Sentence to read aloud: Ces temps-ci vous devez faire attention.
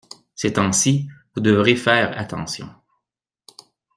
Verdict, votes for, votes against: rejected, 0, 2